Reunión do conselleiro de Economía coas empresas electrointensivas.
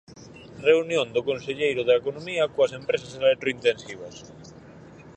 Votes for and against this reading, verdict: 2, 4, rejected